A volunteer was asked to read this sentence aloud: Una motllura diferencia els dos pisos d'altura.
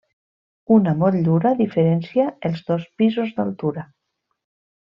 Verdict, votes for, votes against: rejected, 1, 2